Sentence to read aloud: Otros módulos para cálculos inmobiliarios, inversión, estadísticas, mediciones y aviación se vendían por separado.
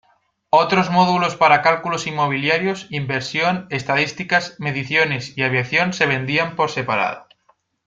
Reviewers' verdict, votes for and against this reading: accepted, 2, 1